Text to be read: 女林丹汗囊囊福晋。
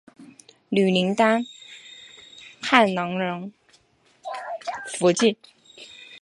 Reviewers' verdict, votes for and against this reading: accepted, 3, 0